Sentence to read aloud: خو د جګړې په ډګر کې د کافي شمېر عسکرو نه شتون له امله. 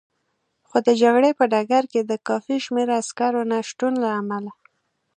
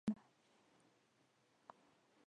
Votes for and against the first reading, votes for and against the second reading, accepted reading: 2, 0, 0, 2, first